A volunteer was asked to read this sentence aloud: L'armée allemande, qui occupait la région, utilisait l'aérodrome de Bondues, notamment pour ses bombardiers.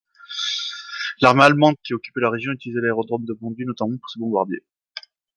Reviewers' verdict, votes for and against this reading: rejected, 1, 2